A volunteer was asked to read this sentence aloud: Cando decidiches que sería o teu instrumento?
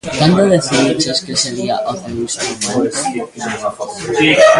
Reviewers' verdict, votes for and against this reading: rejected, 0, 2